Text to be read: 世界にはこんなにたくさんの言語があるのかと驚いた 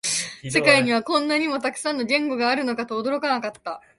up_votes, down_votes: 0, 2